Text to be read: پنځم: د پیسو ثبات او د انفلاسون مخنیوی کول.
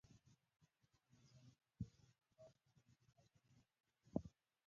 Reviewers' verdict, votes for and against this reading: rejected, 1, 2